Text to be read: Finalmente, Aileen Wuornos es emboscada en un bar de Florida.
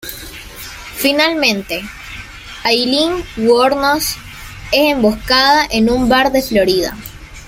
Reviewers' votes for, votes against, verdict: 2, 0, accepted